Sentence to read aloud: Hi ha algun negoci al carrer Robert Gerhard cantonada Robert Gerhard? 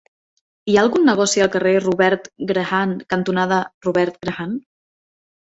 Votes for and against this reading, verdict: 2, 14, rejected